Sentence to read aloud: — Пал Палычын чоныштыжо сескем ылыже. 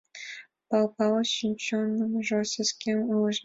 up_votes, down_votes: 0, 2